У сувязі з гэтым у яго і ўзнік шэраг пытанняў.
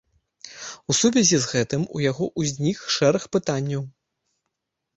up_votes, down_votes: 1, 2